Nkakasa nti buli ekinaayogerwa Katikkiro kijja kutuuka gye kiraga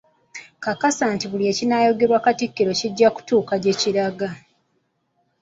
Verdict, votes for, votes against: rejected, 1, 2